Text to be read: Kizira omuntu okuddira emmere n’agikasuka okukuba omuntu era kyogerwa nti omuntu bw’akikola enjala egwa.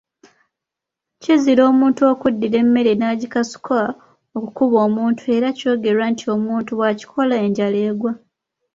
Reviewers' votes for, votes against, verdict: 2, 0, accepted